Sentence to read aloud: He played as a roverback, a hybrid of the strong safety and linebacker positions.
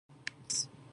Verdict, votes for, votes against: rejected, 0, 2